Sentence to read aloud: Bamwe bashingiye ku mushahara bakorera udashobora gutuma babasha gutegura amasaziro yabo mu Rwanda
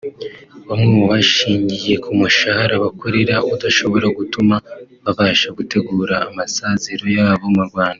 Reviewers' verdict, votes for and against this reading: rejected, 0, 2